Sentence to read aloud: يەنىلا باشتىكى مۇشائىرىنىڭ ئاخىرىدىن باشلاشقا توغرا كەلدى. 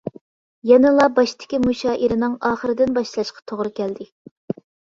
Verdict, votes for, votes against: accepted, 2, 0